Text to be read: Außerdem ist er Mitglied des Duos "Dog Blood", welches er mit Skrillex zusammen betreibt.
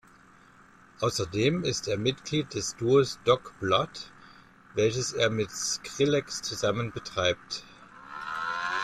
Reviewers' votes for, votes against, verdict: 2, 0, accepted